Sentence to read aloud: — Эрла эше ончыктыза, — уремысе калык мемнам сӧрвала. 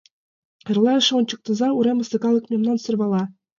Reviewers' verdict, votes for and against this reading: accepted, 2, 0